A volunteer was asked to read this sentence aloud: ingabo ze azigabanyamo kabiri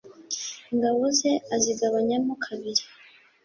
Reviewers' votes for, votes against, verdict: 2, 0, accepted